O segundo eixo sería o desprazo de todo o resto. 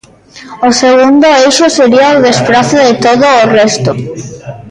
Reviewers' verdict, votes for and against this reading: rejected, 0, 2